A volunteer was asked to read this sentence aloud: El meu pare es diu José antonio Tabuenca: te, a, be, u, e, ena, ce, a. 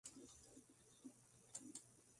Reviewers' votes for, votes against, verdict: 0, 2, rejected